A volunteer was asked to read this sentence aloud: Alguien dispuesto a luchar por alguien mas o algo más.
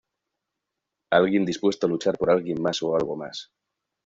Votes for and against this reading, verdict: 2, 0, accepted